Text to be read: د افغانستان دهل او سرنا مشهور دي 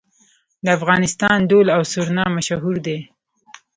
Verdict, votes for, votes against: accepted, 2, 0